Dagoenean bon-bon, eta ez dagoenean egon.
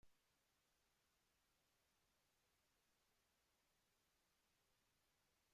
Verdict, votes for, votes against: rejected, 0, 2